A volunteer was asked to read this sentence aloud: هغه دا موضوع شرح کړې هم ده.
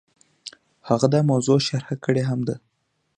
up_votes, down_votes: 2, 0